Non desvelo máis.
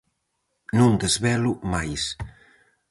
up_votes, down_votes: 4, 0